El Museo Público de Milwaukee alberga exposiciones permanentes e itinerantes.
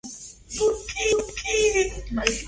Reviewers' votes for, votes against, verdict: 0, 2, rejected